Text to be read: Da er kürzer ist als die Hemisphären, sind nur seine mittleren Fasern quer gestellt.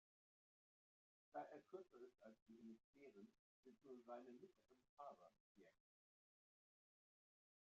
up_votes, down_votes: 0, 2